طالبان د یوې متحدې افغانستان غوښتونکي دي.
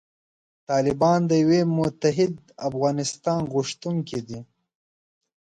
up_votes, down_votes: 0, 2